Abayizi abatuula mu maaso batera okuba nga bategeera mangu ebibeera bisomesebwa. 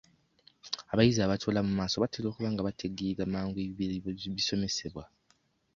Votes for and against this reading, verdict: 1, 2, rejected